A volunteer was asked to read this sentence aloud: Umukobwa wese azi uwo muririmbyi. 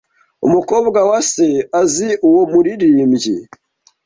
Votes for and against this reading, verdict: 1, 2, rejected